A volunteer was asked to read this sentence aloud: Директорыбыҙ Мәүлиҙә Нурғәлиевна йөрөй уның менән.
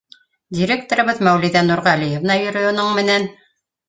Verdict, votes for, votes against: accepted, 2, 0